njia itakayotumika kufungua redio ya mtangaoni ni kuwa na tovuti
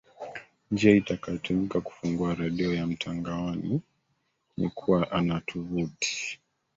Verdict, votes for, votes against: rejected, 0, 2